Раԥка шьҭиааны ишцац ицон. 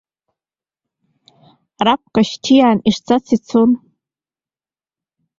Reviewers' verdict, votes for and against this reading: rejected, 1, 2